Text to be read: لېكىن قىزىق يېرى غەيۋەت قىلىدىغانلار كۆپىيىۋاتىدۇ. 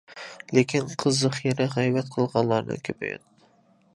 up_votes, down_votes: 0, 2